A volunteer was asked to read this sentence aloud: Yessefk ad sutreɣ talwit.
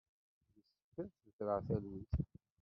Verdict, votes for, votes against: rejected, 0, 2